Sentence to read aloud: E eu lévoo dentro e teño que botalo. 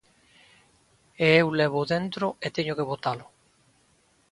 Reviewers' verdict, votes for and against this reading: accepted, 2, 0